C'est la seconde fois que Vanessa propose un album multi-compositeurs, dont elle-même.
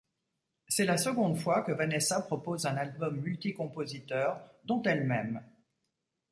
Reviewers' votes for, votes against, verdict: 2, 0, accepted